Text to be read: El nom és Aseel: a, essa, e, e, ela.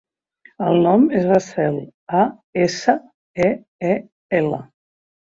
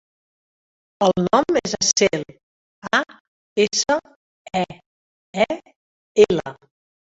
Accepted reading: first